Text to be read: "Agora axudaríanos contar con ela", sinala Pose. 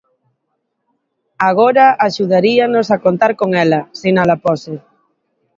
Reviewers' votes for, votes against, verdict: 1, 2, rejected